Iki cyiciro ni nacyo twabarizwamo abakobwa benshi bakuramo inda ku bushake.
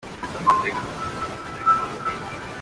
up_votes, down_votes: 0, 2